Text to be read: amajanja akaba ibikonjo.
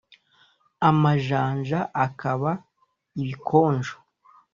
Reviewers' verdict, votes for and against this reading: accepted, 2, 0